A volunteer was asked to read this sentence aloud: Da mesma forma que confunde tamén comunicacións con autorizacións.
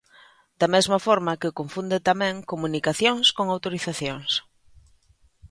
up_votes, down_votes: 2, 0